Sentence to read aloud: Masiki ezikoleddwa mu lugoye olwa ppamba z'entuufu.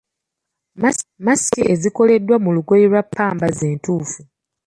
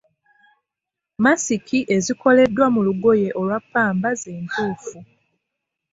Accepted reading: second